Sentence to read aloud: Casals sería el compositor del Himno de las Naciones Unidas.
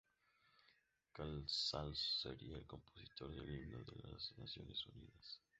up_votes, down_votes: 0, 2